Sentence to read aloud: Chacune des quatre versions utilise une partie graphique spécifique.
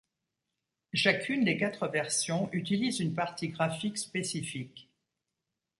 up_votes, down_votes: 2, 0